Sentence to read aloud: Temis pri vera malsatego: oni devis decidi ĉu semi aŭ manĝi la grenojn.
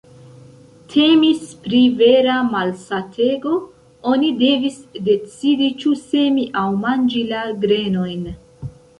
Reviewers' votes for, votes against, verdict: 0, 2, rejected